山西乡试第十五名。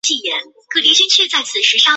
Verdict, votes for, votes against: rejected, 0, 4